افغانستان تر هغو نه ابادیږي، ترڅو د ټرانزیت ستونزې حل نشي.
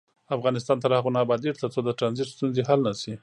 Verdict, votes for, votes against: accepted, 2, 0